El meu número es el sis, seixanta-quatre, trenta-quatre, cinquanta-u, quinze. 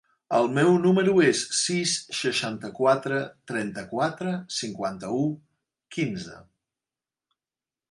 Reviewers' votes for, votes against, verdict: 1, 2, rejected